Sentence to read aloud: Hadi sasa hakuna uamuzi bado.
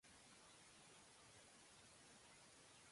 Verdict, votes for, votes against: rejected, 0, 2